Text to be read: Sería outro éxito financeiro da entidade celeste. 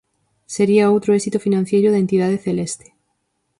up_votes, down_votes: 2, 4